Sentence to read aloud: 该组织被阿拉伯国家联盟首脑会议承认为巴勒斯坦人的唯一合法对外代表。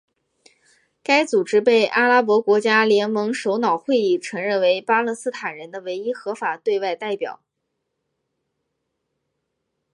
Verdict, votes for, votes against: accepted, 2, 0